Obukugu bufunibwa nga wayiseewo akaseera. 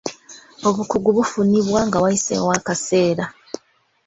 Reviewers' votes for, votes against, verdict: 1, 2, rejected